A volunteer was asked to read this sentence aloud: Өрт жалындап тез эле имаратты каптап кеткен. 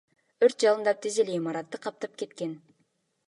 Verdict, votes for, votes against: accepted, 2, 1